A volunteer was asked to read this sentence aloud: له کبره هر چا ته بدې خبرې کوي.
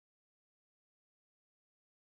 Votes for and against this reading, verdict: 2, 3, rejected